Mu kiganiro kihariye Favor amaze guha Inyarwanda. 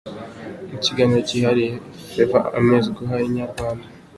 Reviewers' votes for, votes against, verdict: 2, 0, accepted